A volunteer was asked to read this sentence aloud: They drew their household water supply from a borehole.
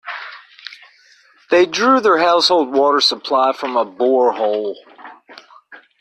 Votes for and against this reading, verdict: 2, 0, accepted